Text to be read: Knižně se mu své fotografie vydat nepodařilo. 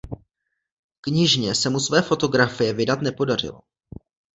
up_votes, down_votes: 2, 0